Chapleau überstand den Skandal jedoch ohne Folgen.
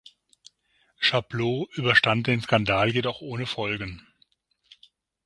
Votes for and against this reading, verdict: 6, 0, accepted